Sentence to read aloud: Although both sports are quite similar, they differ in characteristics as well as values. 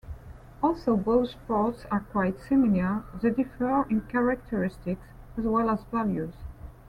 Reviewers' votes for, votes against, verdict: 2, 0, accepted